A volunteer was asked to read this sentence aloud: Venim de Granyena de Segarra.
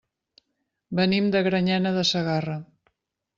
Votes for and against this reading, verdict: 3, 0, accepted